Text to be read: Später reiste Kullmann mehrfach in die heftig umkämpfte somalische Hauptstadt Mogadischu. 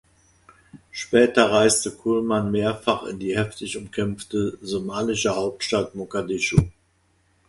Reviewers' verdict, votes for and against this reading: accepted, 2, 0